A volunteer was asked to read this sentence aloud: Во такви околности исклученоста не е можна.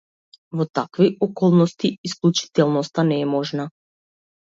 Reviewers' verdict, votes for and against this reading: rejected, 1, 2